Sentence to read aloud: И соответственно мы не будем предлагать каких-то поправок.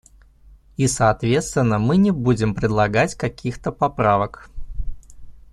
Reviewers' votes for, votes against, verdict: 2, 0, accepted